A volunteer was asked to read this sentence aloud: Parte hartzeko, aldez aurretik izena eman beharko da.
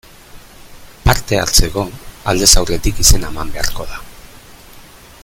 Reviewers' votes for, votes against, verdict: 1, 2, rejected